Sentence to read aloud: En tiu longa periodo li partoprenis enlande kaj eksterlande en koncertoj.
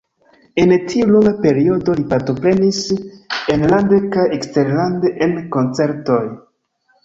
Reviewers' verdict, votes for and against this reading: rejected, 0, 2